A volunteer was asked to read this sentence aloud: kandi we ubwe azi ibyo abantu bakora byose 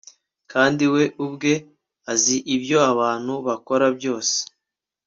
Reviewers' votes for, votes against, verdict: 3, 0, accepted